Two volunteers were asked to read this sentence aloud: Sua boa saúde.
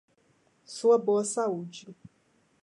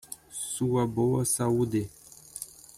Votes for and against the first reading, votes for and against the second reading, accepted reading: 2, 0, 0, 2, first